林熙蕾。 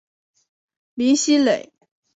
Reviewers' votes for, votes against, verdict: 4, 0, accepted